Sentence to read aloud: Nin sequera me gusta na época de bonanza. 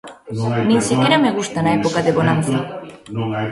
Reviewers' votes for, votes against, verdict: 0, 2, rejected